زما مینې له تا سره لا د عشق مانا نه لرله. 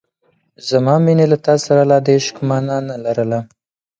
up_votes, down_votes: 6, 0